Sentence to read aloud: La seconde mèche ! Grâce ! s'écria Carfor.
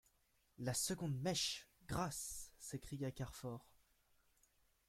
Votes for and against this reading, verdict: 2, 0, accepted